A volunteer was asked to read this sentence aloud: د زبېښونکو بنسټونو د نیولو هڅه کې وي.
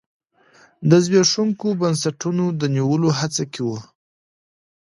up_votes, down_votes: 2, 0